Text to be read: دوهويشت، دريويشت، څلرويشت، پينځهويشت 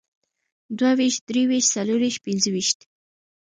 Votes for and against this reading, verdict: 2, 1, accepted